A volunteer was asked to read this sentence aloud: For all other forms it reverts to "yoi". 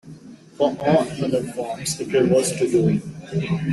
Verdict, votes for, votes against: rejected, 1, 2